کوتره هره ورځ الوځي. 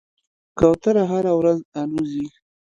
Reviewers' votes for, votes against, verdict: 2, 0, accepted